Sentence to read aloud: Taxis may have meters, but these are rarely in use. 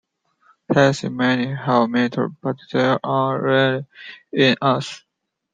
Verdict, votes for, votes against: rejected, 0, 2